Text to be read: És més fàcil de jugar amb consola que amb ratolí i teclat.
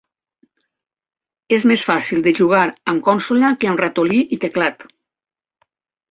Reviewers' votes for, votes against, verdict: 4, 0, accepted